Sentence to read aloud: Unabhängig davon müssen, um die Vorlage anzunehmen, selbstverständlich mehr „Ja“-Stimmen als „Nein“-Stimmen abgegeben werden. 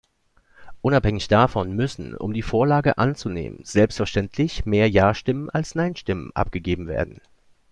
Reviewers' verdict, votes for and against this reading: accepted, 2, 0